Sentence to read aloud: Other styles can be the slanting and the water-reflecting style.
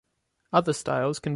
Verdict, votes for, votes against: rejected, 0, 2